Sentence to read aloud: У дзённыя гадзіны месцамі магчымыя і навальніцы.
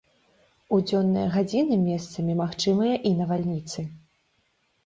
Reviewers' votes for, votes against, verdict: 2, 0, accepted